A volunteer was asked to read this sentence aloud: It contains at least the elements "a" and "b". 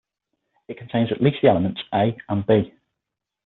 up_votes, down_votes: 6, 0